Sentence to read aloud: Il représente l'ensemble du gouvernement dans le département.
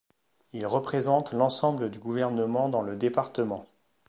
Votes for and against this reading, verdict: 2, 0, accepted